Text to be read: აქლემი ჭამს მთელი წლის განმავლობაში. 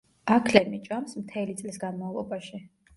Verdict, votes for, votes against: rejected, 0, 2